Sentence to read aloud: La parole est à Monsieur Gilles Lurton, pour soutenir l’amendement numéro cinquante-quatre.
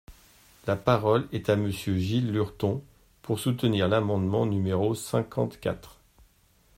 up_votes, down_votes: 2, 0